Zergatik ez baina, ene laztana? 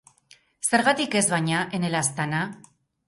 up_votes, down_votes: 2, 2